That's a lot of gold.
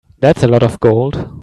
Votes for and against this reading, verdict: 2, 1, accepted